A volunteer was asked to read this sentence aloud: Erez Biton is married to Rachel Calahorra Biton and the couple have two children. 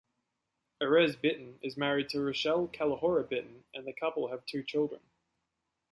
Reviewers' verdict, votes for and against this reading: accepted, 2, 0